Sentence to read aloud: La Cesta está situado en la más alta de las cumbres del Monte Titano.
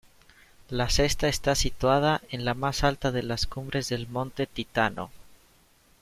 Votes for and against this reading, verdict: 2, 0, accepted